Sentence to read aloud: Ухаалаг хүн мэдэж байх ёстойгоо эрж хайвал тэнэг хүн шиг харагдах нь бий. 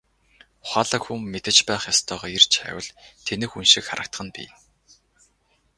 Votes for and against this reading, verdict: 4, 0, accepted